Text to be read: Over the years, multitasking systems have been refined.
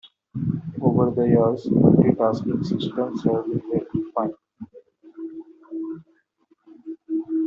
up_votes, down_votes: 1, 2